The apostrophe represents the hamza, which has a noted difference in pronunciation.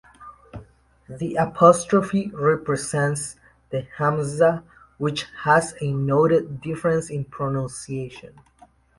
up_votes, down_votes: 2, 0